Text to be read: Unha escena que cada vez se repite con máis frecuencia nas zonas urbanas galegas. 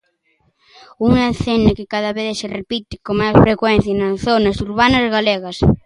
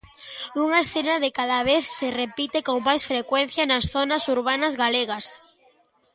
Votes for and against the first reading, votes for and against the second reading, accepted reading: 2, 1, 1, 2, first